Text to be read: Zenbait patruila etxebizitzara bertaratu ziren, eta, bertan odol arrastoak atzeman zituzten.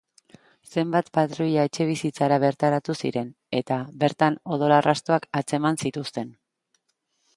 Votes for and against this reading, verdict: 1, 2, rejected